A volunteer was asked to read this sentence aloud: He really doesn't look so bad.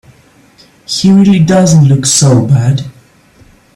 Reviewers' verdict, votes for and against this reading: accepted, 2, 0